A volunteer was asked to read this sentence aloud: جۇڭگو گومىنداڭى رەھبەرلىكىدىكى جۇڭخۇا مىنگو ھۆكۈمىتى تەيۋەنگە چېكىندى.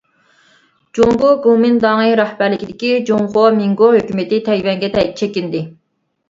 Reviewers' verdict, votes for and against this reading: rejected, 0, 2